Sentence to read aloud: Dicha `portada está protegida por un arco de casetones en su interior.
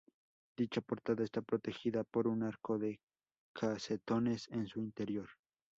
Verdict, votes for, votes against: accepted, 2, 0